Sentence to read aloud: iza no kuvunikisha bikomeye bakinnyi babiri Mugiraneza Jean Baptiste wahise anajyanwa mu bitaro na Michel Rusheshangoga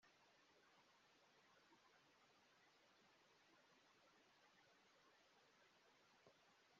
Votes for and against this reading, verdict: 0, 2, rejected